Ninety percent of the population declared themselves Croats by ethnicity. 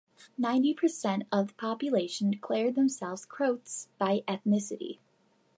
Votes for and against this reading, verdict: 1, 2, rejected